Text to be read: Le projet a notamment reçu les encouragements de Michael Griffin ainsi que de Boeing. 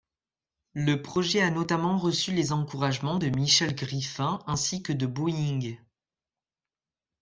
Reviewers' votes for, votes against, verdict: 1, 2, rejected